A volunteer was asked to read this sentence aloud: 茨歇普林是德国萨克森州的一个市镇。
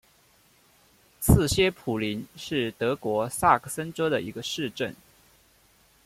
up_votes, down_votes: 2, 0